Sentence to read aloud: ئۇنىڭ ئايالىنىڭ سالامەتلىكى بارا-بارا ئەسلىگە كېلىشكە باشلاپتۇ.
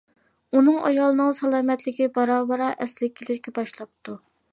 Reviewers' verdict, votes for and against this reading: accepted, 2, 0